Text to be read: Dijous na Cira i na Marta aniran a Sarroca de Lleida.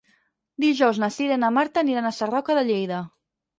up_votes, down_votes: 4, 0